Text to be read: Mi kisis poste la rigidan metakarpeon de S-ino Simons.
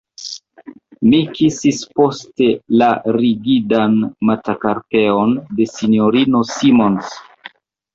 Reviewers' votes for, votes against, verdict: 0, 2, rejected